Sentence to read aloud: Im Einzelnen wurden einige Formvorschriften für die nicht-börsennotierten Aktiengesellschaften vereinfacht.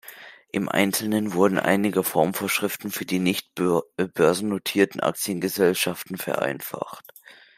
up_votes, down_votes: 1, 2